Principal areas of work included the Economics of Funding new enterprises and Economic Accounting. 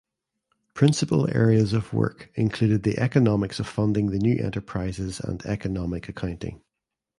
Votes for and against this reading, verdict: 2, 0, accepted